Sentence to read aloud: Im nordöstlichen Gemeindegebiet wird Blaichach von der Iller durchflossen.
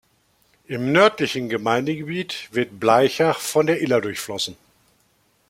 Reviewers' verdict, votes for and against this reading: rejected, 0, 2